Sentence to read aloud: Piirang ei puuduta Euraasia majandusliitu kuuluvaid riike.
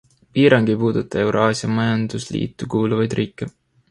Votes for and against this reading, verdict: 2, 0, accepted